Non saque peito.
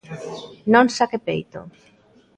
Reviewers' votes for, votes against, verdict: 2, 0, accepted